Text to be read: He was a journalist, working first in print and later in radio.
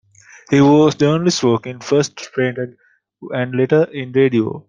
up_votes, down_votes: 0, 2